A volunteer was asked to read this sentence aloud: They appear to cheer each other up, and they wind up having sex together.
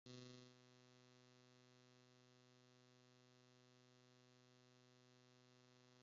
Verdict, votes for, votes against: rejected, 0, 2